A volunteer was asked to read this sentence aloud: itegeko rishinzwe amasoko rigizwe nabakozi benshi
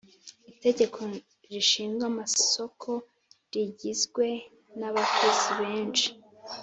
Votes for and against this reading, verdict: 1, 2, rejected